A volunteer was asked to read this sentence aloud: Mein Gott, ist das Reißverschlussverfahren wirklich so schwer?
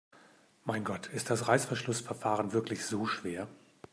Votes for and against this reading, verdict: 2, 0, accepted